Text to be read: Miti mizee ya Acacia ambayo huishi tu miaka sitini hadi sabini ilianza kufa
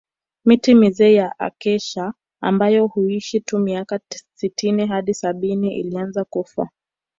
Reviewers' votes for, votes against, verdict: 3, 1, accepted